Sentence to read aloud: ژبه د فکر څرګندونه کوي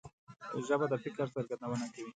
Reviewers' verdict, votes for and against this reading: accepted, 2, 0